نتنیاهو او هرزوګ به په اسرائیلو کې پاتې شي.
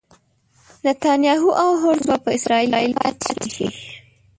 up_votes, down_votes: 1, 2